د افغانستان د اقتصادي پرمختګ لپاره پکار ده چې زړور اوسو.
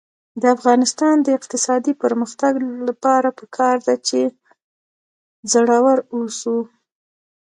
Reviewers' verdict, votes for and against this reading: rejected, 2, 3